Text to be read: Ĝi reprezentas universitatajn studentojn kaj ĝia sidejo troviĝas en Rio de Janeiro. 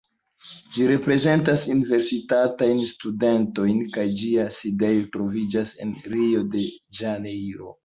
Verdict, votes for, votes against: rejected, 0, 2